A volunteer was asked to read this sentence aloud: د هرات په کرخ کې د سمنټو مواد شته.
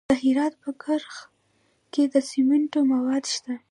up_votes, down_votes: 0, 2